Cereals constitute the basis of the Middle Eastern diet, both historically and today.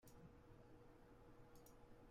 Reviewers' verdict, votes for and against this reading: rejected, 0, 2